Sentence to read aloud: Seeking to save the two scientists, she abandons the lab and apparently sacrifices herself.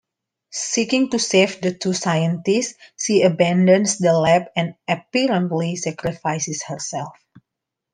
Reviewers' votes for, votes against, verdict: 2, 1, accepted